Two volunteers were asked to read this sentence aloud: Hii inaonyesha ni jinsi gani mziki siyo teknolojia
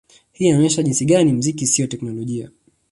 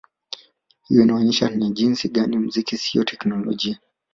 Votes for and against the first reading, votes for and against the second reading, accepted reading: 2, 0, 0, 2, first